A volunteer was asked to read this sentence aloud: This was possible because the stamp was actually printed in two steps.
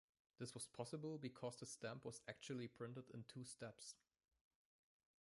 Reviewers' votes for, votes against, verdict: 1, 2, rejected